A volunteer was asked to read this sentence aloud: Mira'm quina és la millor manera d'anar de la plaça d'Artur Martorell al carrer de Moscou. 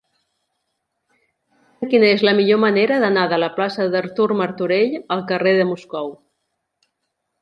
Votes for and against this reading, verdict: 0, 2, rejected